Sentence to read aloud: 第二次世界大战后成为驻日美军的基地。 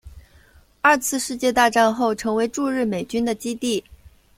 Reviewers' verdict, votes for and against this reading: rejected, 0, 2